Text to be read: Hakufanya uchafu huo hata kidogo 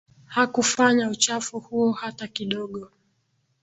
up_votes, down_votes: 2, 0